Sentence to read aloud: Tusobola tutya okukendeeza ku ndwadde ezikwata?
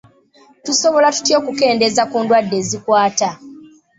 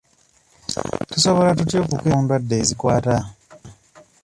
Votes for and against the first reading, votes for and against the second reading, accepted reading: 2, 0, 0, 2, first